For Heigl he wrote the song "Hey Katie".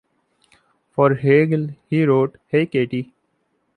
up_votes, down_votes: 0, 2